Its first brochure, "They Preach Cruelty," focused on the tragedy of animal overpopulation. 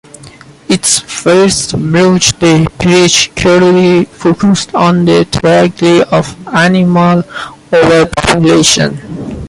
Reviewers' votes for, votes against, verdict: 0, 2, rejected